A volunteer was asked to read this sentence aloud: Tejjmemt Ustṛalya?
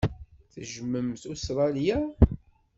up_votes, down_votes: 0, 2